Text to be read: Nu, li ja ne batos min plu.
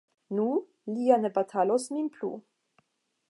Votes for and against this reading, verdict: 0, 5, rejected